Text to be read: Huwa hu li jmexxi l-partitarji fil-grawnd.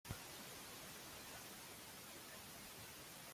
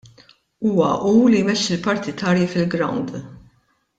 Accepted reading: second